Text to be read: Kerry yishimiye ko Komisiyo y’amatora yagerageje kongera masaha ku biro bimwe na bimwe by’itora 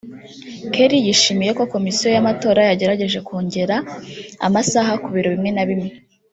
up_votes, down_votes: 0, 2